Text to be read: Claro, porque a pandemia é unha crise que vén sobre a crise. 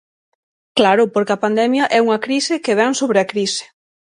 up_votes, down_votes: 6, 0